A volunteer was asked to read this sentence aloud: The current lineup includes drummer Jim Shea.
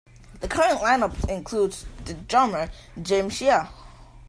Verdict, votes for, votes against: accepted, 2, 1